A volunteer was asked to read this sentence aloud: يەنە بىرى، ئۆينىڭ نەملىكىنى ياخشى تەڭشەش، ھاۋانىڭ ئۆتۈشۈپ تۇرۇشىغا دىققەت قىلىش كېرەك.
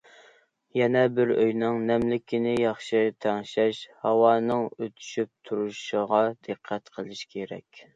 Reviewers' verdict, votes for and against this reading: accepted, 2, 0